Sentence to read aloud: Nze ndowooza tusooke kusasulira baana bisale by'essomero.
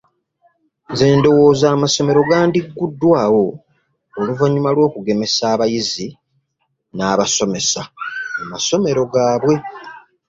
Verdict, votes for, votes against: rejected, 0, 2